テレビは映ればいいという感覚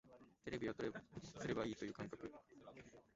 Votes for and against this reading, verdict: 0, 2, rejected